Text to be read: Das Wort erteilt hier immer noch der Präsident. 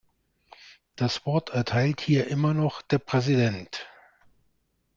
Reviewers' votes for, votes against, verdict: 2, 0, accepted